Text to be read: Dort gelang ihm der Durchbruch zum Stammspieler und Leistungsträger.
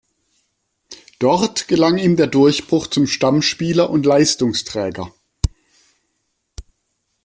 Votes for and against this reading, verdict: 2, 0, accepted